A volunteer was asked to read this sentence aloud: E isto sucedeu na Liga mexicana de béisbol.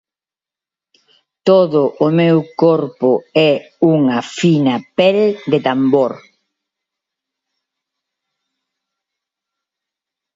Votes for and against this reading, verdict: 0, 2, rejected